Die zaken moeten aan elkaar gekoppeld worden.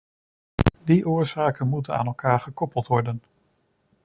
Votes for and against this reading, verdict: 0, 2, rejected